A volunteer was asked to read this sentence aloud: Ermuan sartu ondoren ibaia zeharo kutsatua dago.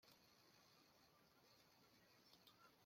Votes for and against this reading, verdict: 0, 2, rejected